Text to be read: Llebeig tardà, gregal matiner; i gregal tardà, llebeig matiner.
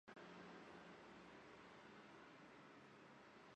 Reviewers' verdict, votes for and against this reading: rejected, 0, 2